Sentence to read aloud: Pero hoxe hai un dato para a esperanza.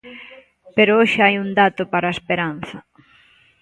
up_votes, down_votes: 2, 0